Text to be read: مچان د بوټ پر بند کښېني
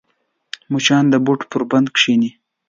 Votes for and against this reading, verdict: 2, 0, accepted